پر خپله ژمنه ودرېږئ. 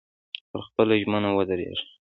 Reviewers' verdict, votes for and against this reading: accepted, 2, 0